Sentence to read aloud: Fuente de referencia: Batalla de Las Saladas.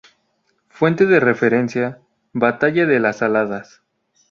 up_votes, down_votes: 2, 0